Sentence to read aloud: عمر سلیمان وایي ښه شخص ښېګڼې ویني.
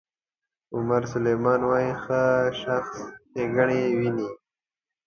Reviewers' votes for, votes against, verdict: 2, 0, accepted